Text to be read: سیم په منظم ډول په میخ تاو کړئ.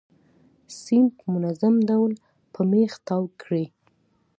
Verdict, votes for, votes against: accepted, 2, 0